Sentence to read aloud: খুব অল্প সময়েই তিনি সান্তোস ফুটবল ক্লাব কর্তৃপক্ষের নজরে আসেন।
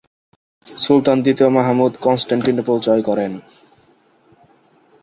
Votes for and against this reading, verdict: 1, 6, rejected